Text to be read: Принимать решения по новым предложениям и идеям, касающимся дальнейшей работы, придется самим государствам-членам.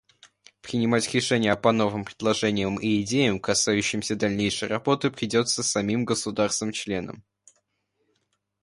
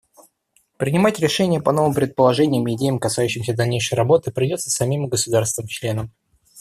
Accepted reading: first